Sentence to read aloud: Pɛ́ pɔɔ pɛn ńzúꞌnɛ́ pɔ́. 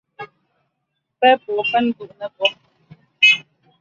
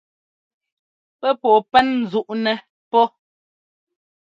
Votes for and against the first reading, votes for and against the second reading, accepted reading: 0, 2, 2, 0, second